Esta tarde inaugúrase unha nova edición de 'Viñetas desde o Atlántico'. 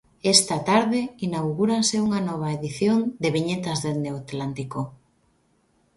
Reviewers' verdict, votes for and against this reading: rejected, 0, 2